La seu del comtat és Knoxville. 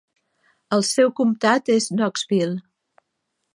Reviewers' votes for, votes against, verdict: 1, 2, rejected